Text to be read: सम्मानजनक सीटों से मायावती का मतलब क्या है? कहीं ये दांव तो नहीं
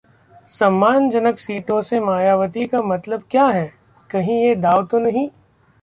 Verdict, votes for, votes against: rejected, 1, 2